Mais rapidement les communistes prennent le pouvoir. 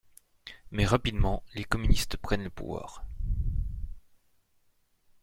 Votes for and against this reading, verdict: 2, 0, accepted